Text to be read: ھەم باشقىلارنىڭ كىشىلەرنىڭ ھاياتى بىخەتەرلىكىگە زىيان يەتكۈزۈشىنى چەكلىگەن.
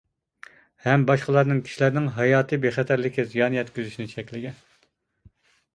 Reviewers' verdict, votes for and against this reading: rejected, 1, 2